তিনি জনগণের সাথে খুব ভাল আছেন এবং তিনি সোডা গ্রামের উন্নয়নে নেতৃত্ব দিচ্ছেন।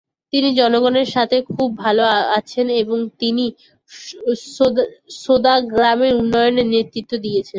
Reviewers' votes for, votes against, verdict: 0, 3, rejected